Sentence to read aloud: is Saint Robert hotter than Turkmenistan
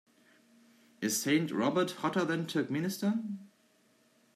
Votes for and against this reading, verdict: 2, 0, accepted